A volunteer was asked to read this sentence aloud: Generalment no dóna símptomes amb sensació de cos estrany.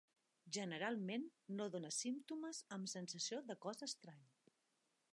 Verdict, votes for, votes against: rejected, 0, 2